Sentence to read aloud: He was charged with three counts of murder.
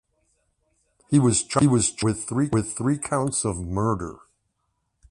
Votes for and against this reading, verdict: 0, 2, rejected